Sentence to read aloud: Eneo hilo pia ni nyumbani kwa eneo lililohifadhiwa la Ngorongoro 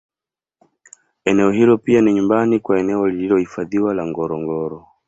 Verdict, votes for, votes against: accepted, 2, 0